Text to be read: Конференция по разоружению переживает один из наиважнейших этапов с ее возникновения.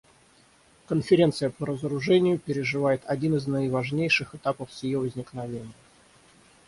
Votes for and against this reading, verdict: 3, 0, accepted